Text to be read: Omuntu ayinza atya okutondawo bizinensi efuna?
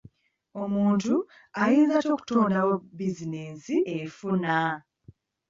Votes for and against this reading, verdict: 3, 1, accepted